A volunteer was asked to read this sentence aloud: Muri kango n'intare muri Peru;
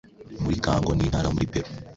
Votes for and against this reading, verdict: 2, 0, accepted